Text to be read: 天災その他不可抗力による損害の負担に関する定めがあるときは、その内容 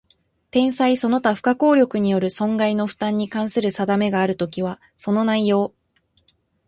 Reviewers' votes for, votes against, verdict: 1, 2, rejected